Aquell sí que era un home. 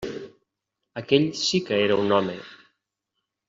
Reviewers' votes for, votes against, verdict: 1, 2, rejected